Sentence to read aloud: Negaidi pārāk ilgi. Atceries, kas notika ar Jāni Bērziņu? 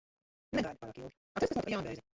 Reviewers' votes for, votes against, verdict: 0, 2, rejected